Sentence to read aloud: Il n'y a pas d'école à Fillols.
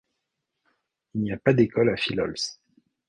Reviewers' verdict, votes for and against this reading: accepted, 3, 1